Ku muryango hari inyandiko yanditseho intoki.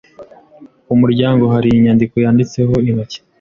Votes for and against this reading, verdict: 2, 0, accepted